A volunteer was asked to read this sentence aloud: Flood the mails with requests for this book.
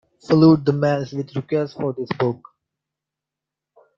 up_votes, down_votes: 1, 2